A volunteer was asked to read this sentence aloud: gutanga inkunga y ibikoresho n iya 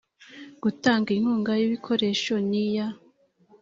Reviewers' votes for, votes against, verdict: 2, 0, accepted